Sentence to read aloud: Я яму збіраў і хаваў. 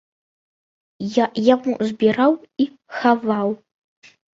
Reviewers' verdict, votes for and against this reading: accepted, 2, 0